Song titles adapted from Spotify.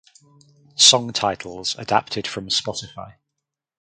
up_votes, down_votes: 2, 2